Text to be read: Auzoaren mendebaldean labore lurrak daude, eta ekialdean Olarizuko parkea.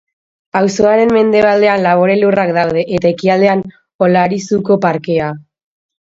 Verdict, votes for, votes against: accepted, 2, 0